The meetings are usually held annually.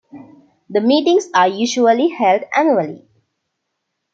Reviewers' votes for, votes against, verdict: 2, 0, accepted